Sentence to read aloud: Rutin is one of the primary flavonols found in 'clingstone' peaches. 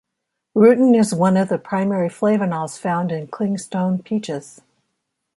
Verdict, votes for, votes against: accepted, 2, 0